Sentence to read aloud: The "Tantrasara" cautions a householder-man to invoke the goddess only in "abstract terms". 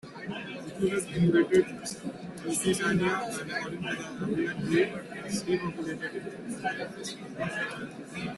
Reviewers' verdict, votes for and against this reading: rejected, 0, 2